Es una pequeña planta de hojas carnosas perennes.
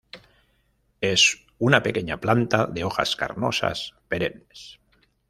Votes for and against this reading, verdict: 2, 0, accepted